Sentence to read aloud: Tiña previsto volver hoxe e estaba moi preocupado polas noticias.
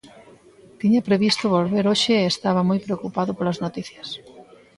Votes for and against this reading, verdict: 2, 0, accepted